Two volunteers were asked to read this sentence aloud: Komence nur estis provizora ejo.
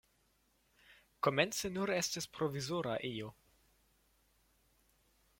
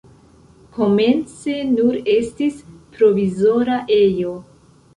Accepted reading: first